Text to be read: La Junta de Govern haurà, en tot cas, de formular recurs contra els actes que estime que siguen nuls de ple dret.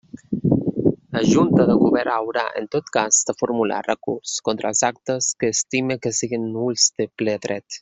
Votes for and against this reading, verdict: 0, 2, rejected